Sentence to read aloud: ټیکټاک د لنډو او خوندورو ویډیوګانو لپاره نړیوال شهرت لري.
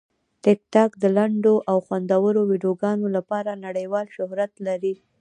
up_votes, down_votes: 1, 2